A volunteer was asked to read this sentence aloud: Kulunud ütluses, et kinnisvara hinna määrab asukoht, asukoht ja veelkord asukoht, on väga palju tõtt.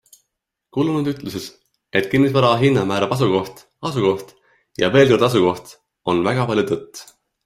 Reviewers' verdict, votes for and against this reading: accepted, 2, 1